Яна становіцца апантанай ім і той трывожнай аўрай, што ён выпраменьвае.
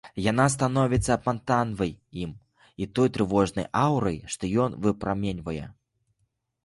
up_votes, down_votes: 2, 1